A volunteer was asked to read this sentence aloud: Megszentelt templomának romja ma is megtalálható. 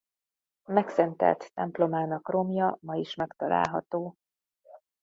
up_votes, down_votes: 2, 0